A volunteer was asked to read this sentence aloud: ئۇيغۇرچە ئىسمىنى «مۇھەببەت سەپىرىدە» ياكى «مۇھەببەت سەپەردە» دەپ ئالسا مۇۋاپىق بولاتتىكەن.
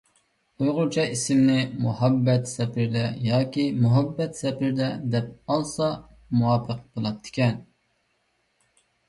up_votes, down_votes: 2, 1